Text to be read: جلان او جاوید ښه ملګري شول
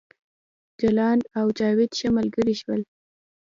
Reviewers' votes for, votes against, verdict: 2, 0, accepted